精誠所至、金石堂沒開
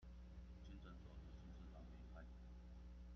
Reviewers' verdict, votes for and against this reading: rejected, 0, 2